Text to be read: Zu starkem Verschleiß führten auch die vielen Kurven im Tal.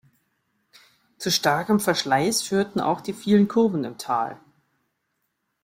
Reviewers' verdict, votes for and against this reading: accepted, 2, 0